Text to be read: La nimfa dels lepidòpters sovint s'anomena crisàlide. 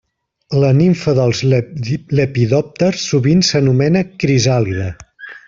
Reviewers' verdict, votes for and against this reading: rejected, 0, 2